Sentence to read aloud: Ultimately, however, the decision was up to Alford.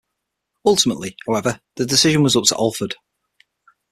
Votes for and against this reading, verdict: 6, 0, accepted